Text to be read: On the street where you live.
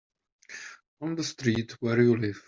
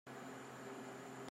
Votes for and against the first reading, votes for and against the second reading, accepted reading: 2, 1, 0, 2, first